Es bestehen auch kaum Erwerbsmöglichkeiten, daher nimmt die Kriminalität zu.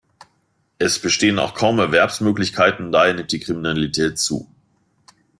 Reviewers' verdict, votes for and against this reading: accepted, 2, 1